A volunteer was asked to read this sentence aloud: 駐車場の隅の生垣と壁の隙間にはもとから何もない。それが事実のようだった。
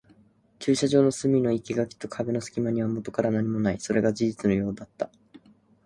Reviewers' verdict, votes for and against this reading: accepted, 2, 0